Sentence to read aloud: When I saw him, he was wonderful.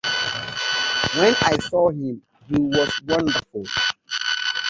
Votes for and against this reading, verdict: 0, 2, rejected